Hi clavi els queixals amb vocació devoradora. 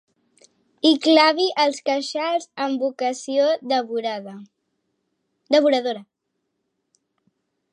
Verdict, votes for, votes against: rejected, 0, 2